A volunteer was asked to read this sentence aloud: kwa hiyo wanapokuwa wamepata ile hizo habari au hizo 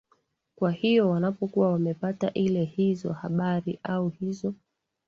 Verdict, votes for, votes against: accepted, 2, 0